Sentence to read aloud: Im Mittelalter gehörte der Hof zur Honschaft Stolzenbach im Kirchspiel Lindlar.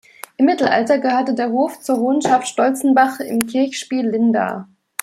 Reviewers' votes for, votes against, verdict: 0, 2, rejected